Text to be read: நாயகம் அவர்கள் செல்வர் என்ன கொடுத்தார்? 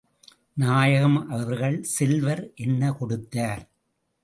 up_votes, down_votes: 2, 0